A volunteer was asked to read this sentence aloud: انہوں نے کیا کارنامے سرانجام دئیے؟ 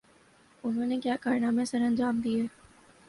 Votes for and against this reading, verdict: 3, 0, accepted